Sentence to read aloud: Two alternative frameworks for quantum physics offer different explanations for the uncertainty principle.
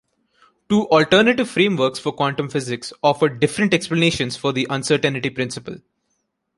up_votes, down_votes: 0, 2